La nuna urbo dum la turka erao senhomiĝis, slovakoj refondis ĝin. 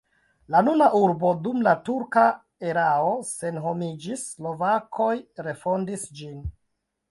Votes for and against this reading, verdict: 0, 2, rejected